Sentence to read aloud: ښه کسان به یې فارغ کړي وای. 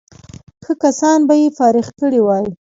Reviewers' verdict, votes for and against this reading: accepted, 2, 0